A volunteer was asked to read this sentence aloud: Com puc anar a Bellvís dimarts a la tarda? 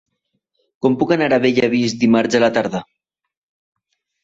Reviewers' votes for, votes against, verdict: 0, 2, rejected